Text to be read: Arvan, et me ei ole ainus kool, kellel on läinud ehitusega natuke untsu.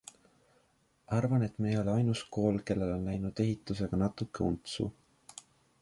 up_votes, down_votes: 2, 0